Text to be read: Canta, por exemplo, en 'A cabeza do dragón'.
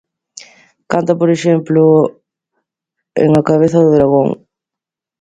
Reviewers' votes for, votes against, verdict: 2, 0, accepted